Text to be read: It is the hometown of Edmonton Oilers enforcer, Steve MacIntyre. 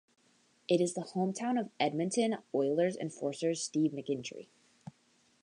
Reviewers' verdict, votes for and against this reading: rejected, 1, 2